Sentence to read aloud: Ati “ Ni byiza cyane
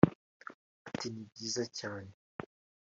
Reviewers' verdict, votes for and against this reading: accepted, 3, 0